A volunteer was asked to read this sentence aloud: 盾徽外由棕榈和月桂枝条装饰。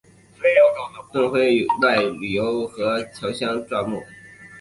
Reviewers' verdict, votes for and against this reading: rejected, 0, 2